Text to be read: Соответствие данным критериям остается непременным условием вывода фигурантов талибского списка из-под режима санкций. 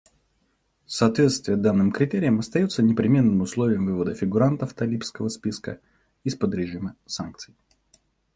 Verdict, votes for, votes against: accepted, 2, 0